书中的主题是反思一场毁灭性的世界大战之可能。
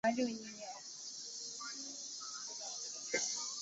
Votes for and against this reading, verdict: 0, 5, rejected